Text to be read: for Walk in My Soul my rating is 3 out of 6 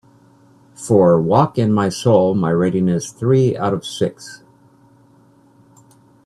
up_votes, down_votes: 0, 2